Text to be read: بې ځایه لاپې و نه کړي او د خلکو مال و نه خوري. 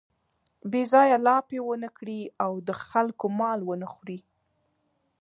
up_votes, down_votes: 3, 0